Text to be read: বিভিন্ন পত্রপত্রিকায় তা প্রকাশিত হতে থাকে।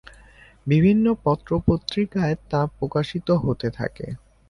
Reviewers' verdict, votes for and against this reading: accepted, 2, 0